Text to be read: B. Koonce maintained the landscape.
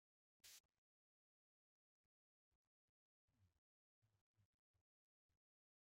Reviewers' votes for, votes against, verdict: 0, 2, rejected